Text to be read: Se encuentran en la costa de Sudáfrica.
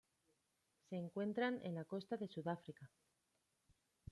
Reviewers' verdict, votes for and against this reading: accepted, 2, 0